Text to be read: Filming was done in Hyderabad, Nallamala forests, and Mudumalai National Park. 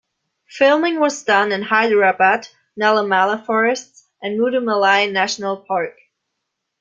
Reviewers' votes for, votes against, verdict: 2, 0, accepted